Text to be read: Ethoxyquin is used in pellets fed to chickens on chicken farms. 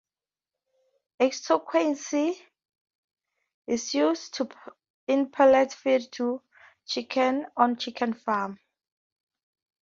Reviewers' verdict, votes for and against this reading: rejected, 0, 4